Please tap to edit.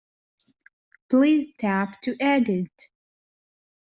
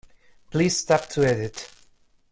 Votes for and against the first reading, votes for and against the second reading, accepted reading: 2, 0, 1, 2, first